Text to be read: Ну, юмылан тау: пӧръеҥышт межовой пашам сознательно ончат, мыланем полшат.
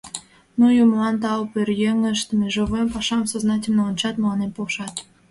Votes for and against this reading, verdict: 2, 1, accepted